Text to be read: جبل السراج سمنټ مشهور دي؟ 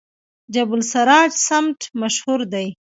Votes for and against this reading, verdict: 2, 0, accepted